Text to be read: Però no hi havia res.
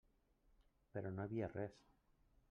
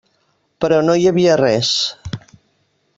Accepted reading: second